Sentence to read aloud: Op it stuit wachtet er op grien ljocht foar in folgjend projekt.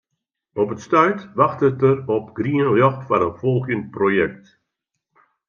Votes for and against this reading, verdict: 2, 0, accepted